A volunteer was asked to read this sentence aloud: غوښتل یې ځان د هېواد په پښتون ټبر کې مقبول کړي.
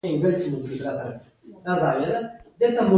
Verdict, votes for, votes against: rejected, 1, 2